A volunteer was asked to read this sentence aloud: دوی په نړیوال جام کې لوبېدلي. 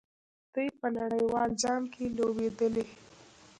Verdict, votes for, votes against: rejected, 1, 2